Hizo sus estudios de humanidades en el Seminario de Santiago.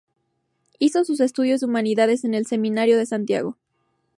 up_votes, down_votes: 2, 0